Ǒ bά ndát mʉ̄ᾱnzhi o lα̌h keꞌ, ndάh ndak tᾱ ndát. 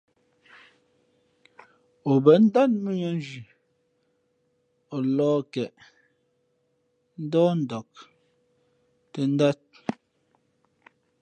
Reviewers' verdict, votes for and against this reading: accepted, 2, 0